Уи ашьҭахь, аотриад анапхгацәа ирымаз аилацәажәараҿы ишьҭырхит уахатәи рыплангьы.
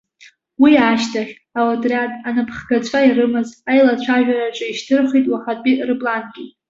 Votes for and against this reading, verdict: 2, 0, accepted